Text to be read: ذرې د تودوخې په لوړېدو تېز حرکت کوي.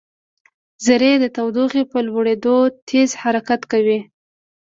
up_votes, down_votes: 2, 0